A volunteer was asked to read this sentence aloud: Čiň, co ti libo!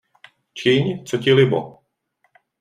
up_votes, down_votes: 2, 0